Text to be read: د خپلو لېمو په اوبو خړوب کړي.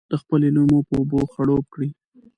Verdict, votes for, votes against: rejected, 0, 2